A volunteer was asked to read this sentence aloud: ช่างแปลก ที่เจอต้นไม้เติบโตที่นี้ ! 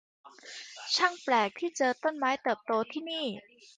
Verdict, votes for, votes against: rejected, 1, 2